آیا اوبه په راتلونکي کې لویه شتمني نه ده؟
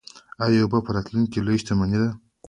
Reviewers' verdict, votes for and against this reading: accepted, 2, 0